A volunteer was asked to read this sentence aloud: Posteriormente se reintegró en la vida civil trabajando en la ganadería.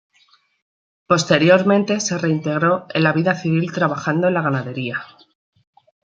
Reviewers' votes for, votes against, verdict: 2, 0, accepted